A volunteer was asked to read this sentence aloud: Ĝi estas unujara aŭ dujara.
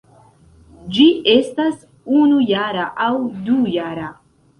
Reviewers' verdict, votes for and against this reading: accepted, 2, 0